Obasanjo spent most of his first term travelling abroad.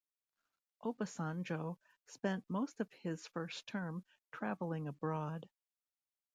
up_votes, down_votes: 1, 2